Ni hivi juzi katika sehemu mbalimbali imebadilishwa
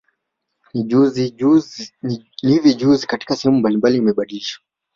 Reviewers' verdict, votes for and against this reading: accepted, 2, 0